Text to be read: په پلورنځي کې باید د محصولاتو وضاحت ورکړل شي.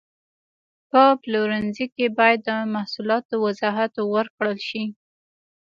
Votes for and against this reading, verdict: 2, 1, accepted